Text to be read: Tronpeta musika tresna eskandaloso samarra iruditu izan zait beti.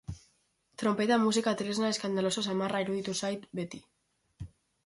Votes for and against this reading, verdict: 0, 3, rejected